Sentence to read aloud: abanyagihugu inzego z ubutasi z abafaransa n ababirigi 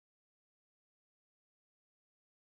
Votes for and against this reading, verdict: 0, 2, rejected